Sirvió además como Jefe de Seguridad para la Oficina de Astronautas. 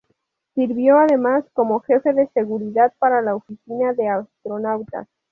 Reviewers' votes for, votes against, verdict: 2, 0, accepted